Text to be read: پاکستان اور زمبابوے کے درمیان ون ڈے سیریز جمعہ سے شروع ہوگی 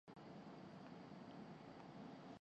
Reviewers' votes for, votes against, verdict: 0, 2, rejected